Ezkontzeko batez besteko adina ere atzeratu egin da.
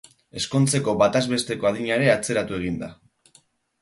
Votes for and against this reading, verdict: 2, 2, rejected